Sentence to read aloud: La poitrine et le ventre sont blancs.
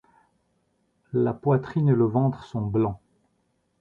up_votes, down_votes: 2, 0